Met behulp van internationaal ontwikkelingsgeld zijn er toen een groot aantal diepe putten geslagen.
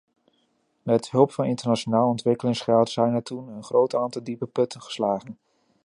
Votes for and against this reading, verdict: 1, 2, rejected